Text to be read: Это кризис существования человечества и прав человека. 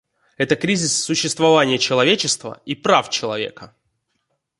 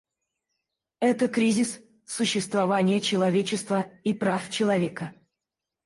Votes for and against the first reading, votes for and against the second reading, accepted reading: 2, 1, 0, 4, first